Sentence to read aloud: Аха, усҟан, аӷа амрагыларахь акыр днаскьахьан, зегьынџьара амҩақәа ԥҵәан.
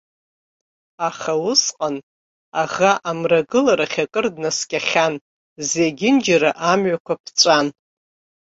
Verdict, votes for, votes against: accepted, 2, 0